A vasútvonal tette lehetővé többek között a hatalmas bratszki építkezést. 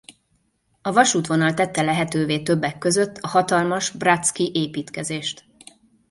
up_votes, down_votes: 2, 0